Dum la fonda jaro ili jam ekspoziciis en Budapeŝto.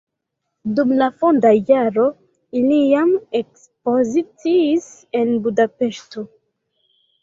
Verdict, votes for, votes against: rejected, 0, 2